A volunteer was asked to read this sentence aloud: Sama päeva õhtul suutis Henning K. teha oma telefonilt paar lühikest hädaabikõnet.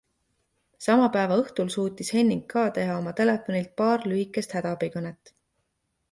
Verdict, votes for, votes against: accepted, 2, 0